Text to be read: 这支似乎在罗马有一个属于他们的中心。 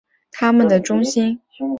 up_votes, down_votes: 0, 2